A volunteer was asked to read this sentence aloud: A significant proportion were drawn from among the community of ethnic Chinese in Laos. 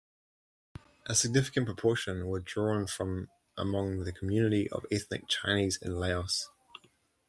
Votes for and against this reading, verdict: 0, 2, rejected